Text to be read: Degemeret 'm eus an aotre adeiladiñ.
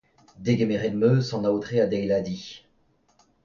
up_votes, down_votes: 2, 0